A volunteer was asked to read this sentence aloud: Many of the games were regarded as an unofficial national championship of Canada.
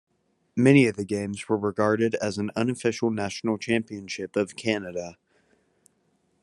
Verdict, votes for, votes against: accepted, 2, 0